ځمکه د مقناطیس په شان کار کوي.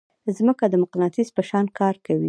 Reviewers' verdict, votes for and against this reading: rejected, 1, 2